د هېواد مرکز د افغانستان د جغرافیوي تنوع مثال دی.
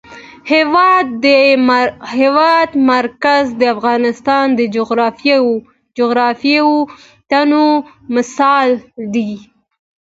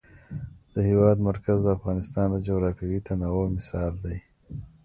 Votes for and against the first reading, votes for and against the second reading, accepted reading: 1, 2, 2, 1, second